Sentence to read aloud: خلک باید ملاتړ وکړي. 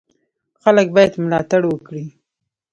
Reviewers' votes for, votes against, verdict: 2, 0, accepted